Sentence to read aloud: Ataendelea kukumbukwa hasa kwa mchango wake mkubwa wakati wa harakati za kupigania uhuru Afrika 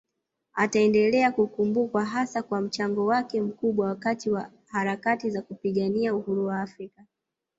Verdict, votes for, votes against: accepted, 2, 0